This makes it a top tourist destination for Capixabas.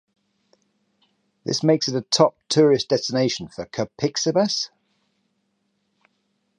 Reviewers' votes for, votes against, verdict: 6, 0, accepted